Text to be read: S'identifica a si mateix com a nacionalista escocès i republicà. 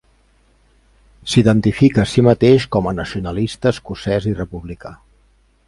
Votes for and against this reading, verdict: 4, 0, accepted